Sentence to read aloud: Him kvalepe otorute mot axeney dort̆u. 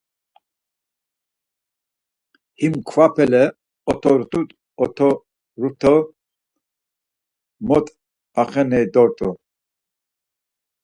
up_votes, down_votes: 0, 4